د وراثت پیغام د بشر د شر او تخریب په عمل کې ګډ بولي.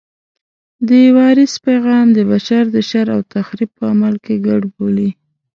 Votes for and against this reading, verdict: 1, 2, rejected